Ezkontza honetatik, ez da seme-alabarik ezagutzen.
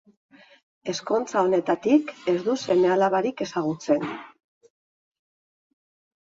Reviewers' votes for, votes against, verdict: 0, 2, rejected